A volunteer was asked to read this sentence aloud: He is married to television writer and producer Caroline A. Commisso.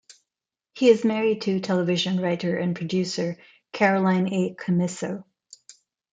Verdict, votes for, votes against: accepted, 2, 0